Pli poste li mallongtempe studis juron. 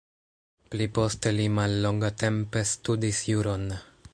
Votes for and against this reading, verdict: 1, 2, rejected